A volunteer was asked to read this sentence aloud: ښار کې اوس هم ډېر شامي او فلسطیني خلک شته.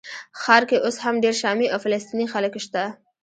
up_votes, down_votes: 1, 2